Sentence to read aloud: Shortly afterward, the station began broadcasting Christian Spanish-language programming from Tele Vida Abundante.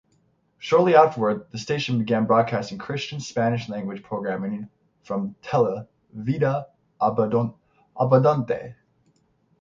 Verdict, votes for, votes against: rejected, 0, 3